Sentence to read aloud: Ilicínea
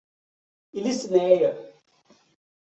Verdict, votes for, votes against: rejected, 1, 2